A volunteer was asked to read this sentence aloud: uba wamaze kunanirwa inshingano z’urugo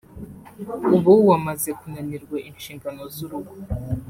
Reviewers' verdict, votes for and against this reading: rejected, 0, 2